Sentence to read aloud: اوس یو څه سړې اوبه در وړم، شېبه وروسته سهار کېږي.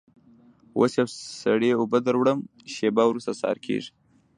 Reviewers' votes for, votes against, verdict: 2, 0, accepted